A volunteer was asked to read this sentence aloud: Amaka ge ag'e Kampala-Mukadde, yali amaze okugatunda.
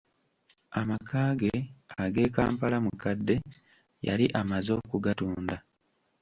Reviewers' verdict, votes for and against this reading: accepted, 2, 1